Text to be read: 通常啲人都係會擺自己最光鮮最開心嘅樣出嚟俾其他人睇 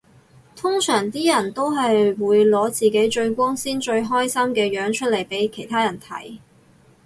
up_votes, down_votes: 2, 4